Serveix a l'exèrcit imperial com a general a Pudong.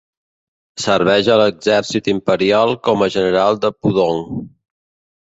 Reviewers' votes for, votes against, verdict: 0, 3, rejected